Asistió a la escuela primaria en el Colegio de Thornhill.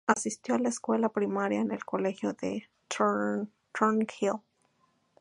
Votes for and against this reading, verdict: 0, 2, rejected